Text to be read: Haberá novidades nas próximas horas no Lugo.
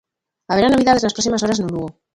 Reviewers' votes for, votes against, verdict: 0, 2, rejected